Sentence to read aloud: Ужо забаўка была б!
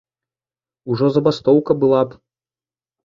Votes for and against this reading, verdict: 1, 3, rejected